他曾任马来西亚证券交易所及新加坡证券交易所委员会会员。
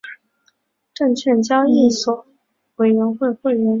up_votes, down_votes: 0, 5